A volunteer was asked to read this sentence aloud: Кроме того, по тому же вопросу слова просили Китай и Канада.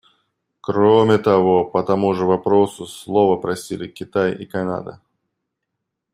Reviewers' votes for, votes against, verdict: 2, 0, accepted